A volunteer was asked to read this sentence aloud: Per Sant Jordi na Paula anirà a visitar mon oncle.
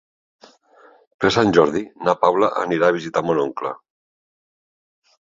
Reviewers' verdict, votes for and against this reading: accepted, 3, 0